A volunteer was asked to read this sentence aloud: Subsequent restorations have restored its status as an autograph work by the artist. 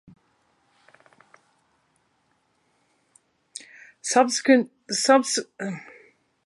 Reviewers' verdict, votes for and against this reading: rejected, 0, 2